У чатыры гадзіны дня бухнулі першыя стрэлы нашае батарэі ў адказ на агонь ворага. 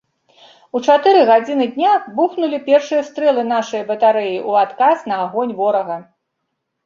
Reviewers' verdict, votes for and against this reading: accepted, 2, 0